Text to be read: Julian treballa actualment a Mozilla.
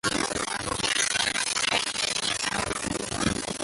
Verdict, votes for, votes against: rejected, 0, 2